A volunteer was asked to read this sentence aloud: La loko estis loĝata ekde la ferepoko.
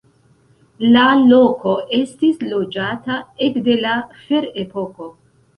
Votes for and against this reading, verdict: 2, 1, accepted